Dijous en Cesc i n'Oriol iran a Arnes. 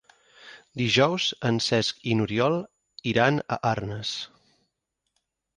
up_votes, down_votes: 6, 0